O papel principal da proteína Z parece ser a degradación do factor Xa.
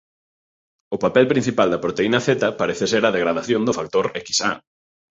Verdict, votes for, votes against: accepted, 2, 0